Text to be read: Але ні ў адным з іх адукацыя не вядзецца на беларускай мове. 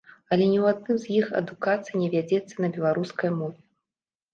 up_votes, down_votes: 2, 0